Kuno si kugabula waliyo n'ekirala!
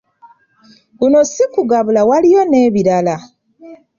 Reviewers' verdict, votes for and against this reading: rejected, 1, 2